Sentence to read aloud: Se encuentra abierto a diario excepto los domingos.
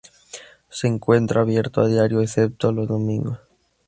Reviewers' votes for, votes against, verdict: 2, 0, accepted